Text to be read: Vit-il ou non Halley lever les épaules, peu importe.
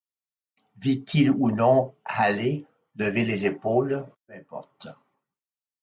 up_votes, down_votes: 1, 2